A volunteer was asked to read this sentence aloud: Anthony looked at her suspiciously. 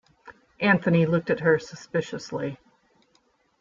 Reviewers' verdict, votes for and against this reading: accepted, 2, 0